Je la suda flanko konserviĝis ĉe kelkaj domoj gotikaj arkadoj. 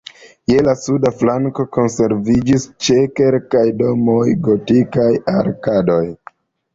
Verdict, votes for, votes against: accepted, 2, 0